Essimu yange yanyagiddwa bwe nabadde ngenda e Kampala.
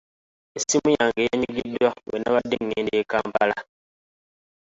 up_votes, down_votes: 0, 2